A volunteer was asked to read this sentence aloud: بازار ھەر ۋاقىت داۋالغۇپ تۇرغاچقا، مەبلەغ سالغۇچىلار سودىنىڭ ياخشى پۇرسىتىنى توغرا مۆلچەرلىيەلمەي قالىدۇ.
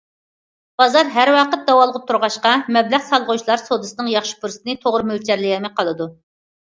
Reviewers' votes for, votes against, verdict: 1, 2, rejected